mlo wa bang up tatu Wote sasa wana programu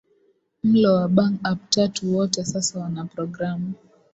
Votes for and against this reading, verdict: 2, 0, accepted